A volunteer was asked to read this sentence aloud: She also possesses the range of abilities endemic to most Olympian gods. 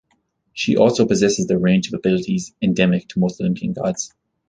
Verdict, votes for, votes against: accepted, 2, 0